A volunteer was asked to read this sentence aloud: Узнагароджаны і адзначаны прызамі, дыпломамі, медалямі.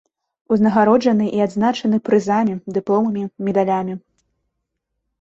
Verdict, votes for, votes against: accepted, 2, 0